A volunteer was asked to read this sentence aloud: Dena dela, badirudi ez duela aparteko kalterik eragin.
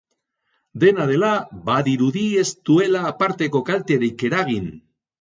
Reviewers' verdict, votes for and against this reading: accepted, 4, 0